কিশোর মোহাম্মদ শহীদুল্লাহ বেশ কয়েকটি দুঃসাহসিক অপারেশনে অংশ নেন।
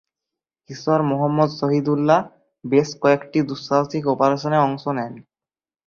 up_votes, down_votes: 1, 5